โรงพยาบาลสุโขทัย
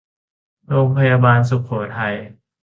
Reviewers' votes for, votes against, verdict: 2, 0, accepted